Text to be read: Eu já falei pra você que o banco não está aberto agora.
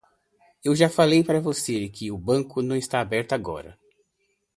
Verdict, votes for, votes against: accepted, 2, 0